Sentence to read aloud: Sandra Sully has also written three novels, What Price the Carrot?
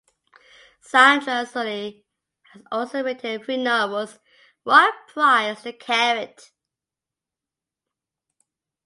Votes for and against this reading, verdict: 0, 2, rejected